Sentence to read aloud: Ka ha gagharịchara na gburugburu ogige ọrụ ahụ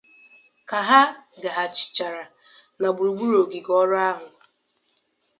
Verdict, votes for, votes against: accepted, 2, 0